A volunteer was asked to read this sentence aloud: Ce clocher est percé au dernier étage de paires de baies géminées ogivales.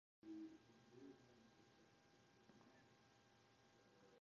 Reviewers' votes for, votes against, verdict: 0, 2, rejected